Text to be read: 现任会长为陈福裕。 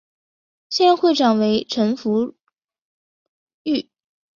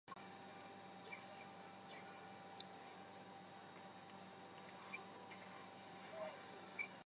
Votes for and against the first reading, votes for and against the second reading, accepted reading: 4, 0, 0, 2, first